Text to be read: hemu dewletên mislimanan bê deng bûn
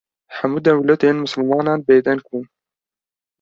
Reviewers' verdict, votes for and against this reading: accepted, 2, 0